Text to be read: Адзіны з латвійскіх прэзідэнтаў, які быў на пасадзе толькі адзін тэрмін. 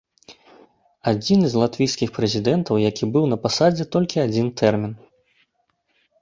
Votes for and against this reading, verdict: 2, 0, accepted